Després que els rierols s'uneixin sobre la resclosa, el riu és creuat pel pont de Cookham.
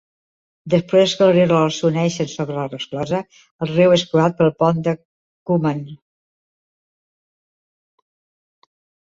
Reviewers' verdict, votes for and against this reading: accepted, 2, 1